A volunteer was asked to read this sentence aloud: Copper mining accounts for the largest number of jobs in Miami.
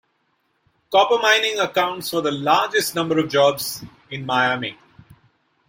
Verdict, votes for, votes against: accepted, 2, 0